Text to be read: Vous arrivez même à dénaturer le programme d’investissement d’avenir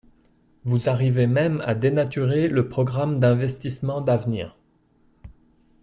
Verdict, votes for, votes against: accepted, 2, 0